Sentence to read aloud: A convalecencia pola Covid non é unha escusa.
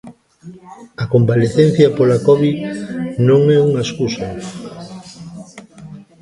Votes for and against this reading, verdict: 0, 2, rejected